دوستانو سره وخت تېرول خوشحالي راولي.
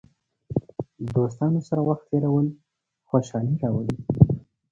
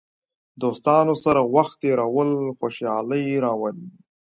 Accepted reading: second